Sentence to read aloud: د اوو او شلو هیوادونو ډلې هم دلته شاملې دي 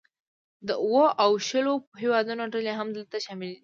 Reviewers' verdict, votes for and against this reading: accepted, 2, 0